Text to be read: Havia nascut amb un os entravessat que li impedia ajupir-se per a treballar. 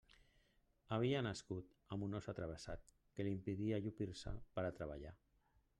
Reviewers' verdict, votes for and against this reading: rejected, 0, 2